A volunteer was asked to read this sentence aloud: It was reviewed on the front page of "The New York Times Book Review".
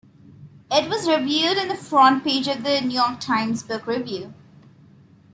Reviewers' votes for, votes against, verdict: 2, 1, accepted